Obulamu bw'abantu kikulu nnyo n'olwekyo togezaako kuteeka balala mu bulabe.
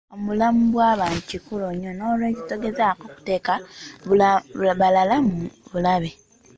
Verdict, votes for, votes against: rejected, 0, 2